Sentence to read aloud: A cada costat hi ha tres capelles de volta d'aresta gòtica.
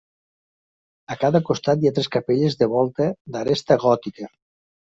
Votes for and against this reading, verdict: 3, 0, accepted